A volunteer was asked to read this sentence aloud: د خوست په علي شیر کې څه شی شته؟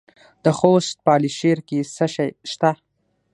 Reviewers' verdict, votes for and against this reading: accepted, 6, 0